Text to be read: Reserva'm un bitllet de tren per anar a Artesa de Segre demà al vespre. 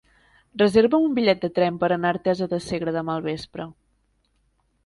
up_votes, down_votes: 1, 2